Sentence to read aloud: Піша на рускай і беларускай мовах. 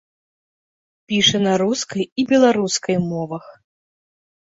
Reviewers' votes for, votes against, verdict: 2, 0, accepted